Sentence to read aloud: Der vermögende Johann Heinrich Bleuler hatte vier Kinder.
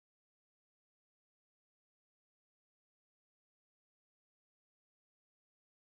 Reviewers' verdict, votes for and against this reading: rejected, 0, 2